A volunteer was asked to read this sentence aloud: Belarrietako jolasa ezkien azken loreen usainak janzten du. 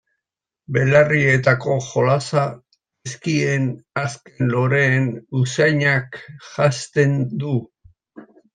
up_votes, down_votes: 1, 2